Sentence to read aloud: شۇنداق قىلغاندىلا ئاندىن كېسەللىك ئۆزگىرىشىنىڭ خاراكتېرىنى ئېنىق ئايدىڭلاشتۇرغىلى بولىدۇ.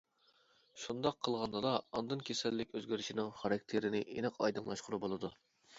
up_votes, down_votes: 0, 2